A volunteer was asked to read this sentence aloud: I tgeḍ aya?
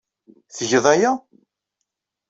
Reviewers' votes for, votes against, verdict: 0, 2, rejected